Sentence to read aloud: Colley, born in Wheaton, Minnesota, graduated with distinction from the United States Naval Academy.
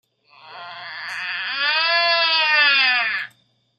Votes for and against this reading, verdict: 0, 2, rejected